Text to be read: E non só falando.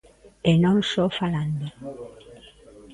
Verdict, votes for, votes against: rejected, 1, 2